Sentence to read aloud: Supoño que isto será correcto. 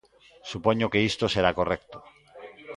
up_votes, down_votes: 1, 2